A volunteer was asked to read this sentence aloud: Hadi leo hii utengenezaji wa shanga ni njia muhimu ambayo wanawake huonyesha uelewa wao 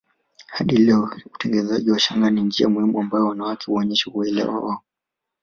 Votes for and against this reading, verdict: 1, 2, rejected